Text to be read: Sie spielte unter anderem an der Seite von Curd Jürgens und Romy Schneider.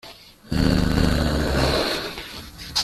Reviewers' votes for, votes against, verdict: 0, 2, rejected